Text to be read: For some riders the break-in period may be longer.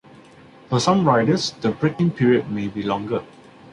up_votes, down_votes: 2, 0